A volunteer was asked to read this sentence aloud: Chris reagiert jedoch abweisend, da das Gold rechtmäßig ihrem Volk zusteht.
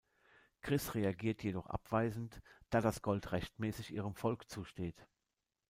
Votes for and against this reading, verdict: 2, 0, accepted